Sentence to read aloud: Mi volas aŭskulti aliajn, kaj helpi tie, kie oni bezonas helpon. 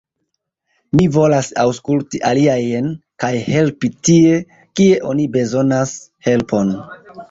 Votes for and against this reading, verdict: 1, 2, rejected